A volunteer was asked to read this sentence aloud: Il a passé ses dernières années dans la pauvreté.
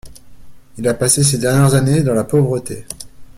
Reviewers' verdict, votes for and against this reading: accepted, 2, 0